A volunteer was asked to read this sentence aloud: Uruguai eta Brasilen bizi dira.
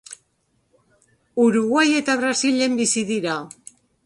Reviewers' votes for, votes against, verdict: 0, 2, rejected